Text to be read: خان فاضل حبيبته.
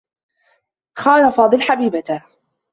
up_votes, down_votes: 2, 0